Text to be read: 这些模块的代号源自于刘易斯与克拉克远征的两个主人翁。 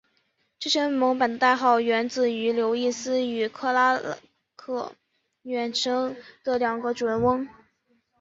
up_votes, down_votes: 2, 2